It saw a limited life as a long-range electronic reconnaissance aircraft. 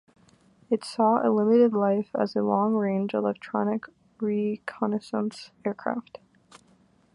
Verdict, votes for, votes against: rejected, 1, 2